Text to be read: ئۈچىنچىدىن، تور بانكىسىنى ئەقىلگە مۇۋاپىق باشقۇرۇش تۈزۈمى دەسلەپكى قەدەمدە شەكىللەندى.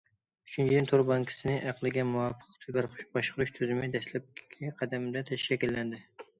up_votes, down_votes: 0, 2